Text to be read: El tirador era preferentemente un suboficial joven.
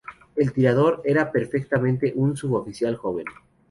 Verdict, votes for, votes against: rejected, 0, 2